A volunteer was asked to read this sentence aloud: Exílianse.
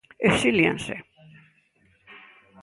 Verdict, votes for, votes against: accepted, 2, 0